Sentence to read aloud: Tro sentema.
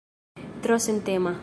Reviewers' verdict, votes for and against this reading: rejected, 0, 2